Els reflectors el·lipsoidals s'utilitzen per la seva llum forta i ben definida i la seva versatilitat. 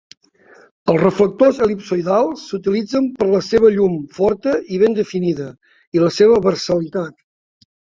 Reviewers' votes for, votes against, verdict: 1, 3, rejected